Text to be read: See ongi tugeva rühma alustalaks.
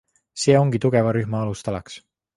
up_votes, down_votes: 2, 0